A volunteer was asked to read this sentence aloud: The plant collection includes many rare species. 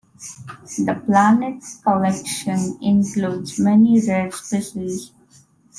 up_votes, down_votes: 0, 2